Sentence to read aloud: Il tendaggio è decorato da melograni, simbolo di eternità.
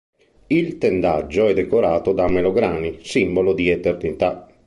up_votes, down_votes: 2, 0